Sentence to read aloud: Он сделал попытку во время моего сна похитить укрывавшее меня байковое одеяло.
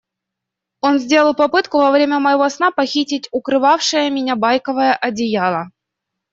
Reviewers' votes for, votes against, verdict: 2, 0, accepted